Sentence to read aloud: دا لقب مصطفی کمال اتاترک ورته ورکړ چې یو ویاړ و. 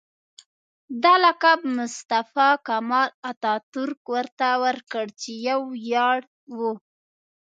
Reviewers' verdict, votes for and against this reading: accepted, 3, 1